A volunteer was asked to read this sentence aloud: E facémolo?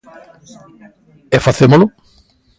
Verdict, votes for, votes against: accepted, 2, 0